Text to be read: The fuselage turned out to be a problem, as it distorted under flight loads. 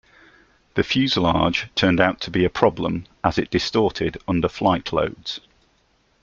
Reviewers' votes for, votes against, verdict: 2, 0, accepted